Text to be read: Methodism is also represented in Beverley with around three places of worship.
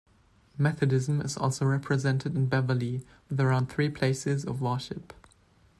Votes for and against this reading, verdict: 2, 0, accepted